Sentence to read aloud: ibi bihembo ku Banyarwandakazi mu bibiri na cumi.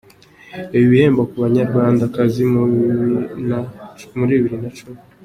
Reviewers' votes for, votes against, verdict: 1, 2, rejected